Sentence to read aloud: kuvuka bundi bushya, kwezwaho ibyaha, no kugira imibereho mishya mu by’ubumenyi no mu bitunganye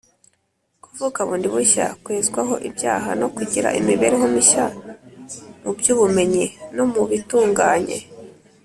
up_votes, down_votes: 2, 0